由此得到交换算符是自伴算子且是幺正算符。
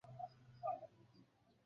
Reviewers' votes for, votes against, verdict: 0, 2, rejected